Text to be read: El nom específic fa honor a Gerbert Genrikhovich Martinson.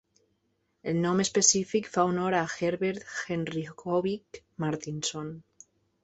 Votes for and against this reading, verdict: 2, 0, accepted